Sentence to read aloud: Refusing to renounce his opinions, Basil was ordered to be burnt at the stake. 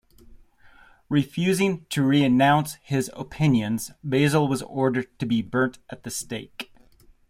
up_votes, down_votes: 2, 1